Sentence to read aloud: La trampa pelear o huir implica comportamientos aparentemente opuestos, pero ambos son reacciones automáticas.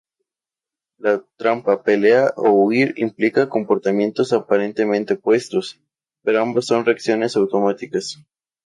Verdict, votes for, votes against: accepted, 2, 0